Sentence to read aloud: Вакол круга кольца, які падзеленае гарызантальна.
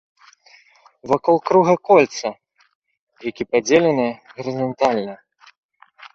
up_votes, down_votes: 2, 0